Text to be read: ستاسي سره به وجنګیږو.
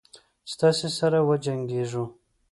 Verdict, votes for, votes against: accepted, 2, 0